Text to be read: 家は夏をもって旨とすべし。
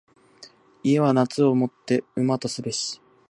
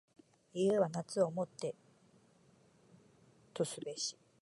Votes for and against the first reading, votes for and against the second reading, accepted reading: 2, 1, 0, 2, first